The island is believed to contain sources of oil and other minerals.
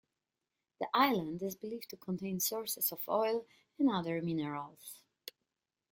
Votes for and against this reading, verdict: 2, 0, accepted